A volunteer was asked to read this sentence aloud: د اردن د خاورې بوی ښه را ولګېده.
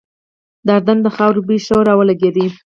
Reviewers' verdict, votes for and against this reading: accepted, 4, 0